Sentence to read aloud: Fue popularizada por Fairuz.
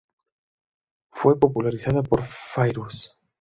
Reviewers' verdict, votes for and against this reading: accepted, 2, 0